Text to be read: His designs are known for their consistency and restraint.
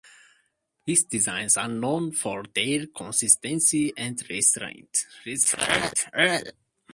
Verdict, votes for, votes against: rejected, 0, 2